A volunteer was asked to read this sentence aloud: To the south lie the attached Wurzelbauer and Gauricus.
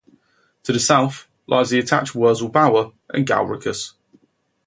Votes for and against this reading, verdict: 0, 2, rejected